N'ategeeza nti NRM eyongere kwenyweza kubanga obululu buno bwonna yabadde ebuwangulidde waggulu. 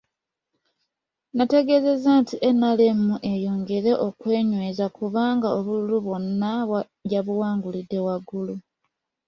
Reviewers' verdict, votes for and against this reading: rejected, 0, 2